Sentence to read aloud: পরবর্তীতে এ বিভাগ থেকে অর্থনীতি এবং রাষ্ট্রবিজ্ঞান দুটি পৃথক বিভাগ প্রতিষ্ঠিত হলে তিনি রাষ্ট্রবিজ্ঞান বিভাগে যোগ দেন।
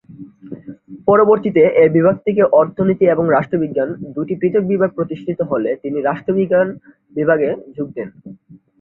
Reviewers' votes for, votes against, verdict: 3, 2, accepted